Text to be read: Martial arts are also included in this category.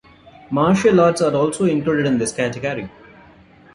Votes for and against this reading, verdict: 2, 1, accepted